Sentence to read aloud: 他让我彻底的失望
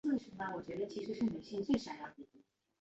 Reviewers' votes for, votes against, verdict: 1, 3, rejected